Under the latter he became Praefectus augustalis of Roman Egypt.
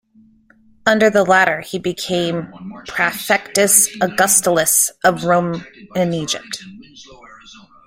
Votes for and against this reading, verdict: 1, 2, rejected